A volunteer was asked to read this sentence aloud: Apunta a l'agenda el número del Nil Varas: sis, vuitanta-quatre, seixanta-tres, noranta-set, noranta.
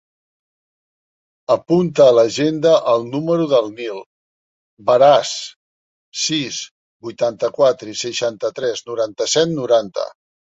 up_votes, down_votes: 1, 2